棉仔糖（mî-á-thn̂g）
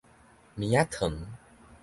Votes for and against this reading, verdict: 2, 0, accepted